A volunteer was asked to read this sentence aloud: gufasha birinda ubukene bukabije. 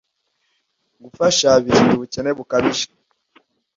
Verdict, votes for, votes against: accepted, 2, 0